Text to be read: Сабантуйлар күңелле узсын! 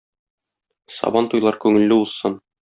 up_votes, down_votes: 2, 0